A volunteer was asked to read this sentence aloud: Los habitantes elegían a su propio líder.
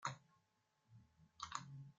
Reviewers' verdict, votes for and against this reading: rejected, 0, 2